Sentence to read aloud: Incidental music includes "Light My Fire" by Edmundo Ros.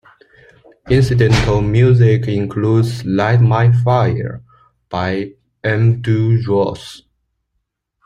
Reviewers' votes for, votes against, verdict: 0, 2, rejected